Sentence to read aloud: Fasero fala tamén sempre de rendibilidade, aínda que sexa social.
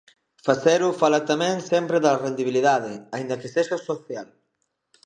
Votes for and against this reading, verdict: 0, 2, rejected